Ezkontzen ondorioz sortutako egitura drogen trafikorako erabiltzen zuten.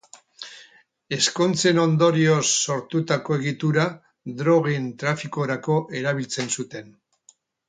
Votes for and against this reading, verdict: 2, 2, rejected